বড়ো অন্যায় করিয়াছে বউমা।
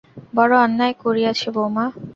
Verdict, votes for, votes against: accepted, 2, 0